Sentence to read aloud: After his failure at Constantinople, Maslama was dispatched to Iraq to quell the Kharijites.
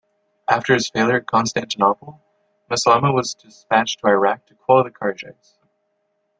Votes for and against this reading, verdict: 2, 3, rejected